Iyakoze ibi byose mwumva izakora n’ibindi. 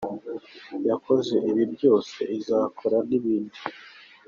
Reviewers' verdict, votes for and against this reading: accepted, 3, 2